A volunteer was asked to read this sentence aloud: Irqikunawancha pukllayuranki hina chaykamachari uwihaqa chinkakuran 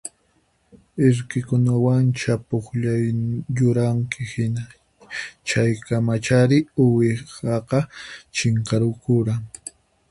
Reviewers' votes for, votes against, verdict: 2, 4, rejected